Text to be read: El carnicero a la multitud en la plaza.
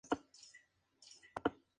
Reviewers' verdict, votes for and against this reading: rejected, 2, 4